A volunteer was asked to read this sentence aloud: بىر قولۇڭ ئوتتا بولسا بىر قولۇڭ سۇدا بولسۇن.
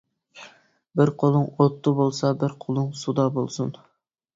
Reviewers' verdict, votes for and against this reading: accepted, 2, 0